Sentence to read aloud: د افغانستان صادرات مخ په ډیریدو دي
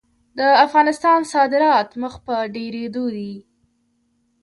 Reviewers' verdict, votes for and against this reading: rejected, 1, 2